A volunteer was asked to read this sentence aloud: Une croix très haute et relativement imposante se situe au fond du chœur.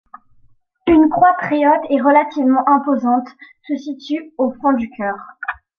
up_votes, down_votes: 2, 0